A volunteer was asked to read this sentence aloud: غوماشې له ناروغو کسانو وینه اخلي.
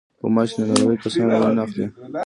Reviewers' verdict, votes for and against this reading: rejected, 0, 2